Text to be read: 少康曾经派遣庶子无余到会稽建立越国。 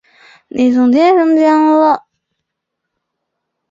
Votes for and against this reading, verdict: 0, 2, rejected